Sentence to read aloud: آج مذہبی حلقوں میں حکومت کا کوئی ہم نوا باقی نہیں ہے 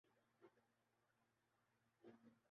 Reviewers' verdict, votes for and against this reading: rejected, 0, 2